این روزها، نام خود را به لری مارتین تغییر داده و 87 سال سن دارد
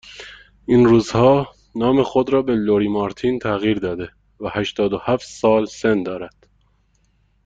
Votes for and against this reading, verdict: 0, 2, rejected